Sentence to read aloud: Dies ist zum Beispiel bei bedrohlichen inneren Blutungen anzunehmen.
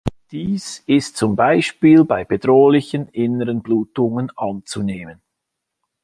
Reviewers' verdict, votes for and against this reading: accepted, 2, 0